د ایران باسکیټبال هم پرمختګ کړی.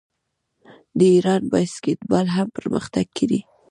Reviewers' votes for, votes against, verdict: 1, 2, rejected